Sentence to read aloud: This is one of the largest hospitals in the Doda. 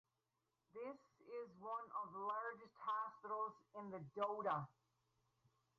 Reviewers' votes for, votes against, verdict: 2, 2, rejected